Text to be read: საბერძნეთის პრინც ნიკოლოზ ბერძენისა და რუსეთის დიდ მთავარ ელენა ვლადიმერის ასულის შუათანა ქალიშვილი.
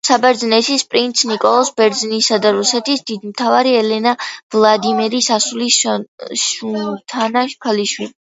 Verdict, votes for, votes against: rejected, 0, 2